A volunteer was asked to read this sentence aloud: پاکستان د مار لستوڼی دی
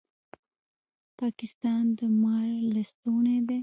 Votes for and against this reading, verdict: 0, 2, rejected